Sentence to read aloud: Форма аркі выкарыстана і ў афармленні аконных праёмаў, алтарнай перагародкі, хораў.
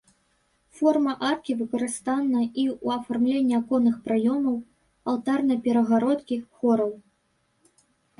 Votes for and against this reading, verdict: 0, 2, rejected